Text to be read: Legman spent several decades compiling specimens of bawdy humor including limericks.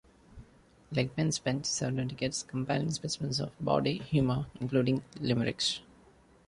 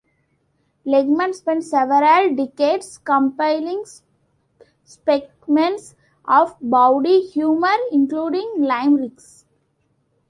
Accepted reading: first